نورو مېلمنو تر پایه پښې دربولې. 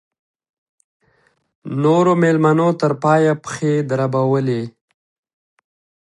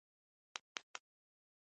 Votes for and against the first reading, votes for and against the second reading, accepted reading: 2, 0, 0, 2, first